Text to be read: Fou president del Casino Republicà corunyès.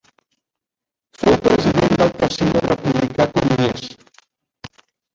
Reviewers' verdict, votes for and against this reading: rejected, 0, 2